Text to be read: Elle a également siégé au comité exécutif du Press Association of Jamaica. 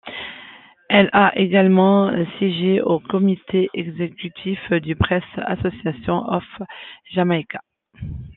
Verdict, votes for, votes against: accepted, 2, 0